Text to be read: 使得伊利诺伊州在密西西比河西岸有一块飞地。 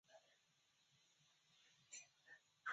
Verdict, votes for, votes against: rejected, 0, 2